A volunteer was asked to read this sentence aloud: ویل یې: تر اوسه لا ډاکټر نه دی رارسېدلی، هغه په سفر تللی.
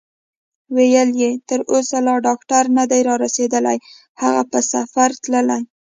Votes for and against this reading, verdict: 2, 0, accepted